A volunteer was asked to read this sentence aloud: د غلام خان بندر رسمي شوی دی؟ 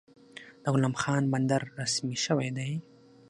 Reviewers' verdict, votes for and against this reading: accepted, 6, 0